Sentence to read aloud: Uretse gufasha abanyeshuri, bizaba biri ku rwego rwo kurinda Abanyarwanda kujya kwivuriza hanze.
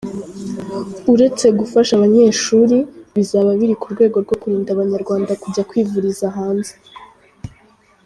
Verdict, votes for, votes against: rejected, 1, 2